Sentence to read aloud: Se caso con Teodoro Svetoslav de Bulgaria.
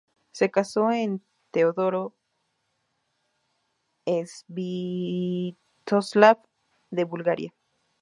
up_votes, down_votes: 0, 2